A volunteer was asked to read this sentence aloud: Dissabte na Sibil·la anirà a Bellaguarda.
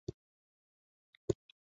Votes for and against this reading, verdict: 0, 2, rejected